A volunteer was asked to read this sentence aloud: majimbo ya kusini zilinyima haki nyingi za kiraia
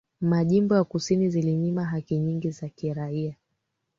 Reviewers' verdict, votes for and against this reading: accepted, 3, 1